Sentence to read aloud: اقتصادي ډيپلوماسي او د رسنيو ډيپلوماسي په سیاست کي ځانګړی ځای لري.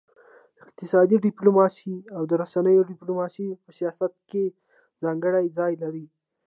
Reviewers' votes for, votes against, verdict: 2, 1, accepted